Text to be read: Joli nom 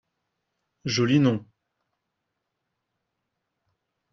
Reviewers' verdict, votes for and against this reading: accepted, 2, 0